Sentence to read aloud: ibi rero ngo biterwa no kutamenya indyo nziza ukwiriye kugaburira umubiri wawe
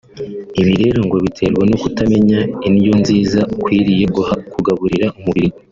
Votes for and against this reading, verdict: 0, 3, rejected